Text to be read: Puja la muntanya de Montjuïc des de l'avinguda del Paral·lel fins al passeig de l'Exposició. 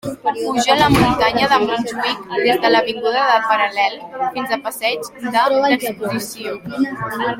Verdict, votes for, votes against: rejected, 0, 2